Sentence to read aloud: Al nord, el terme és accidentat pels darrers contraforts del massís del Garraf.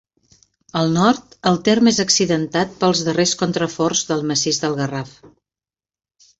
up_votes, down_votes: 2, 0